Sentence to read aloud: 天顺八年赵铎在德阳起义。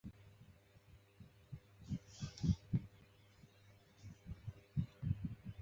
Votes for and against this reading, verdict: 1, 3, rejected